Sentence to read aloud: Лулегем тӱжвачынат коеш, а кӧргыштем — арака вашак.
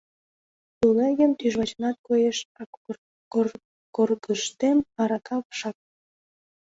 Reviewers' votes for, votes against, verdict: 0, 2, rejected